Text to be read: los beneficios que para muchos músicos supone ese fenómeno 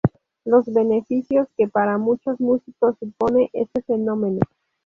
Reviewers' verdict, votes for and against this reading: rejected, 0, 2